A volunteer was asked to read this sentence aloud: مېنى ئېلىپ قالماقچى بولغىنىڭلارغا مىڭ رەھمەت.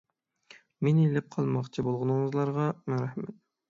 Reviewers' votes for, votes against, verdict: 3, 6, rejected